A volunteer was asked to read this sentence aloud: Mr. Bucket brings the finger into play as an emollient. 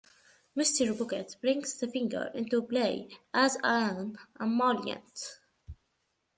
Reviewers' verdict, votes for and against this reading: accepted, 2, 0